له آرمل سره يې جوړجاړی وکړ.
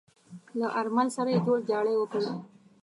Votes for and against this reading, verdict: 2, 0, accepted